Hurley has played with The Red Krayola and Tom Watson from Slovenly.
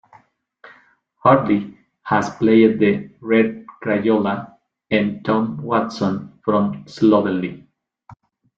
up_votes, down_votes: 0, 2